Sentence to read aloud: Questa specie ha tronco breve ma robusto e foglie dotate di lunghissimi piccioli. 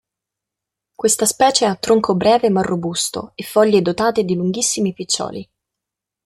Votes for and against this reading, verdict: 2, 0, accepted